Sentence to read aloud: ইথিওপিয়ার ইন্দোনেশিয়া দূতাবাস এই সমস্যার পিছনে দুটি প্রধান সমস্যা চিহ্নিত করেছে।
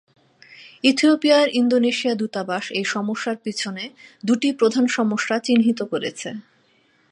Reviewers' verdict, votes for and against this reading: accepted, 38, 3